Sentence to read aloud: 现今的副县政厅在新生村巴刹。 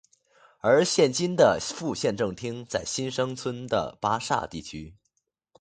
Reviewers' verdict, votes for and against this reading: rejected, 0, 2